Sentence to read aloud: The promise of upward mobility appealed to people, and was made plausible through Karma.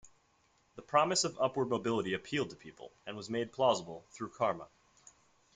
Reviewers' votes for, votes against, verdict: 2, 1, accepted